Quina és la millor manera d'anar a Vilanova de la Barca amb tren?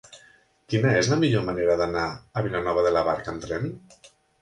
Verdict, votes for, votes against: accepted, 3, 0